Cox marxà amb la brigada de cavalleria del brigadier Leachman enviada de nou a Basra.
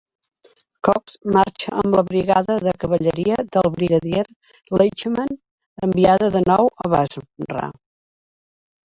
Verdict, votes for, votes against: rejected, 1, 2